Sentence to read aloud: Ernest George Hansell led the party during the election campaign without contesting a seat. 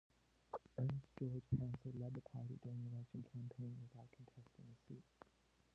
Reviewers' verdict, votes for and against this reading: rejected, 0, 2